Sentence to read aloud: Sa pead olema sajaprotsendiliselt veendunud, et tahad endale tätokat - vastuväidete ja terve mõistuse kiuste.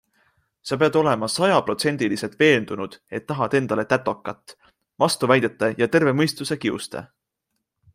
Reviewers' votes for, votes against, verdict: 2, 0, accepted